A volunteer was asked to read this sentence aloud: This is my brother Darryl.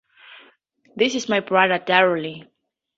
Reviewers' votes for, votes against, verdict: 0, 2, rejected